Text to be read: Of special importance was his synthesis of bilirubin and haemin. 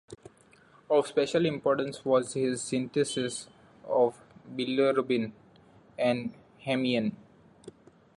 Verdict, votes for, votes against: rejected, 0, 2